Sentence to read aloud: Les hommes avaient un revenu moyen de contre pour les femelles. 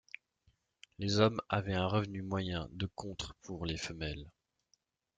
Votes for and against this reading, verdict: 2, 0, accepted